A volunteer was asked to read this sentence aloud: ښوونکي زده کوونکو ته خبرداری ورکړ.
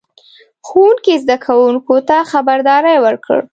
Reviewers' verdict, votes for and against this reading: accepted, 2, 0